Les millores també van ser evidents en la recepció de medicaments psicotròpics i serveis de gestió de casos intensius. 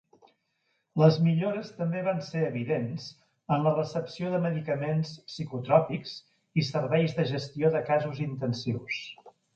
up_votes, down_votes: 4, 0